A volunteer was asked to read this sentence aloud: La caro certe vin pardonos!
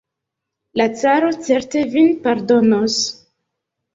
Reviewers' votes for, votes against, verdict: 1, 2, rejected